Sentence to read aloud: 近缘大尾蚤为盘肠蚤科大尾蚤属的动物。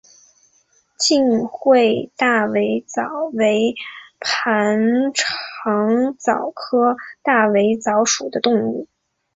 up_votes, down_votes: 5, 1